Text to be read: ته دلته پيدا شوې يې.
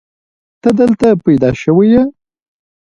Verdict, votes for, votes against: rejected, 1, 2